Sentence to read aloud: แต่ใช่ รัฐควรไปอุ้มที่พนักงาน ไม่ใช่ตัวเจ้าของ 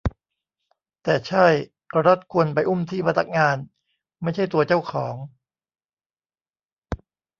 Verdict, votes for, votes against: accepted, 2, 0